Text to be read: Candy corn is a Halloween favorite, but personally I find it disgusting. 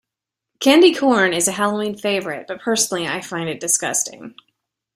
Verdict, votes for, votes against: accepted, 2, 0